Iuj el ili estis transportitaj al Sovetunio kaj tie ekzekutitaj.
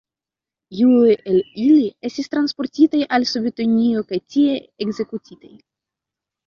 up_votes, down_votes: 2, 0